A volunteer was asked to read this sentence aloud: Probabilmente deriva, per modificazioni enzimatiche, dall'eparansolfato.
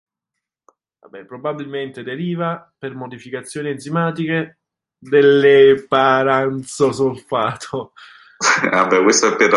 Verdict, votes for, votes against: rejected, 0, 2